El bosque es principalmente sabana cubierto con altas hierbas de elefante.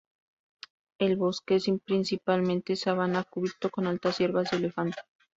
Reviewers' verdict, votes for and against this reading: rejected, 0, 2